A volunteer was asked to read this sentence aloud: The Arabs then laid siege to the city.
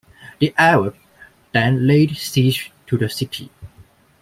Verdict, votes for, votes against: accepted, 2, 1